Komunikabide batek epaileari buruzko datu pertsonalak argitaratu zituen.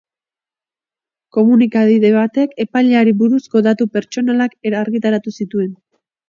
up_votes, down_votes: 0, 3